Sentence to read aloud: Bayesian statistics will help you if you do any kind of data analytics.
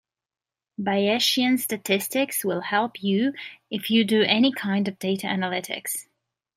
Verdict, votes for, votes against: rejected, 0, 2